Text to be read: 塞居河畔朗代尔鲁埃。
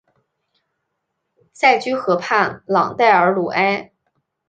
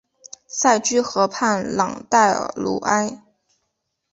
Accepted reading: second